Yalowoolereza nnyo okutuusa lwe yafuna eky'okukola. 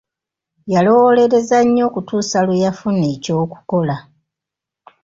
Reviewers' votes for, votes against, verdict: 2, 0, accepted